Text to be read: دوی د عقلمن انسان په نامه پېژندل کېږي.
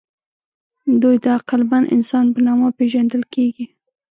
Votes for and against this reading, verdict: 2, 0, accepted